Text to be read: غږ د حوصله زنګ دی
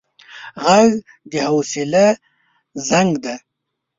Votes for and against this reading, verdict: 0, 2, rejected